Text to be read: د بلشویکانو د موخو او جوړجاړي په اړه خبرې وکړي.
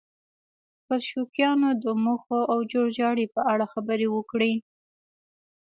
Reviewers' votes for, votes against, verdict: 2, 1, accepted